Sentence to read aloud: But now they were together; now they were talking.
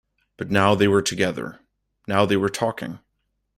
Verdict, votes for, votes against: accepted, 2, 0